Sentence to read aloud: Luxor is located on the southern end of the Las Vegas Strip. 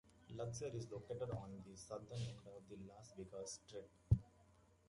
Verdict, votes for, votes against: rejected, 0, 2